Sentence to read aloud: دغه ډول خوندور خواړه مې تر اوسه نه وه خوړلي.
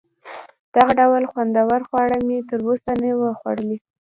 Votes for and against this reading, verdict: 1, 2, rejected